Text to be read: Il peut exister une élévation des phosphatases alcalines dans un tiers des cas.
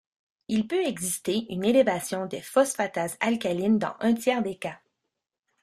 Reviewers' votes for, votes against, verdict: 2, 0, accepted